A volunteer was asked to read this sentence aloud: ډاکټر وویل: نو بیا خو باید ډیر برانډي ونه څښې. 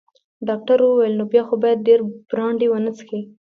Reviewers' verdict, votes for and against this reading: accepted, 2, 1